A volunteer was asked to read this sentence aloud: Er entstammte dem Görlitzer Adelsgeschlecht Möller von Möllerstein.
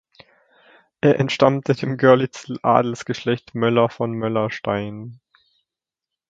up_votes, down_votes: 0, 2